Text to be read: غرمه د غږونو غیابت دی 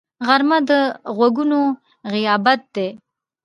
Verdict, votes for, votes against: accepted, 2, 0